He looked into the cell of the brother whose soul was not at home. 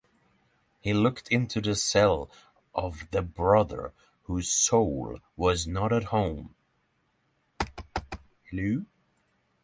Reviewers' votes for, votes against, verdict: 3, 0, accepted